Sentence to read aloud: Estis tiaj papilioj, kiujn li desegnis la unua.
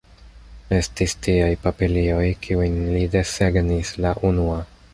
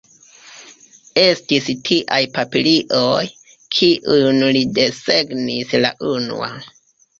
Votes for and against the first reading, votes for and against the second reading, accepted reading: 3, 0, 0, 2, first